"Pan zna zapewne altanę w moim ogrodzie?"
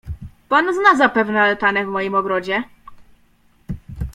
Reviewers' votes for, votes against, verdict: 2, 0, accepted